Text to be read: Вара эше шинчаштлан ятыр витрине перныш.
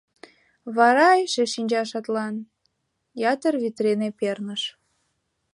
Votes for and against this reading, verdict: 0, 2, rejected